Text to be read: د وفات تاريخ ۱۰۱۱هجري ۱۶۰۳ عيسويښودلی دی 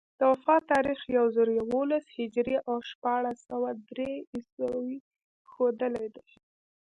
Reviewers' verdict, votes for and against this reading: rejected, 0, 2